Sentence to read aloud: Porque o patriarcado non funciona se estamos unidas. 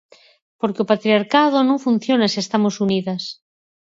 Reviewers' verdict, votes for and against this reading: accepted, 4, 2